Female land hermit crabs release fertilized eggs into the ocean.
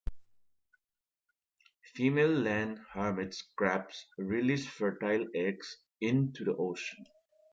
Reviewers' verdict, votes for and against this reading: rejected, 1, 2